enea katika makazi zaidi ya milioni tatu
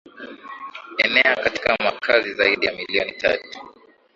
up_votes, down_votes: 2, 0